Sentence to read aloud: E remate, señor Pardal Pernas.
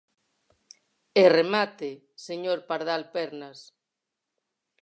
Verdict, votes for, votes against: accepted, 4, 0